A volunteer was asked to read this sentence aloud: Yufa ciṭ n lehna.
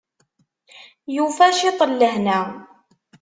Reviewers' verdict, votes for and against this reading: accepted, 2, 0